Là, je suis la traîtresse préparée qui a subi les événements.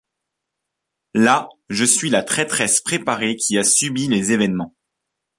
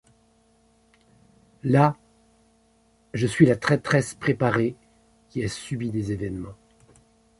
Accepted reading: first